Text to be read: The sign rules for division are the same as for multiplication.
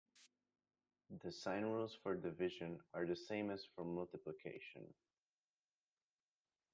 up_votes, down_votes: 2, 0